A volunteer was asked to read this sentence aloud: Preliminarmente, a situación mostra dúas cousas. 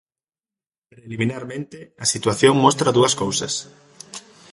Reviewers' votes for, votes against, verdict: 0, 2, rejected